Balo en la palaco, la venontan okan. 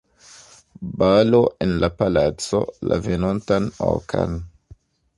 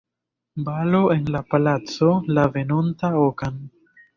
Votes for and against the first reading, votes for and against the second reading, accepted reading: 2, 0, 1, 2, first